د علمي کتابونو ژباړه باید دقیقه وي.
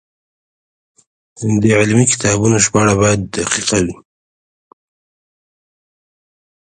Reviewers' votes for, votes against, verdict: 0, 2, rejected